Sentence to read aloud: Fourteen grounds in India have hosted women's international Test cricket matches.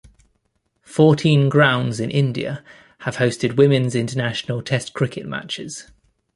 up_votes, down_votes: 2, 0